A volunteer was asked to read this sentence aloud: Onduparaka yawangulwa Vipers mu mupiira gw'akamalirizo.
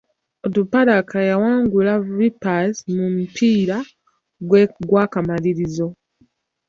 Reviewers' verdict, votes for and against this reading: rejected, 0, 2